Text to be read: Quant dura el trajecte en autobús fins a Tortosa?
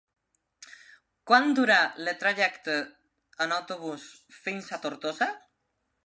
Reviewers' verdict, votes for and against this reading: rejected, 0, 2